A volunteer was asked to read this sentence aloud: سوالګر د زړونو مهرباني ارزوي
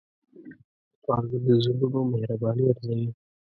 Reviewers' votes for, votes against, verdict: 2, 0, accepted